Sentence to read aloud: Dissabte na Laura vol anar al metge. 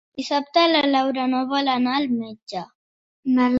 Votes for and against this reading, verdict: 0, 3, rejected